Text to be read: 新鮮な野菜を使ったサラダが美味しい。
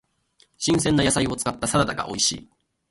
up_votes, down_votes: 0, 2